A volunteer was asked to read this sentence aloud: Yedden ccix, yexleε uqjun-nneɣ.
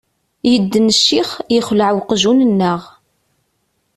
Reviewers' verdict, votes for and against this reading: accepted, 2, 0